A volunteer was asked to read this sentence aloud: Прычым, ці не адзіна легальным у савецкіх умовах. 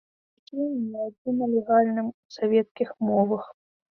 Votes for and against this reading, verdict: 0, 2, rejected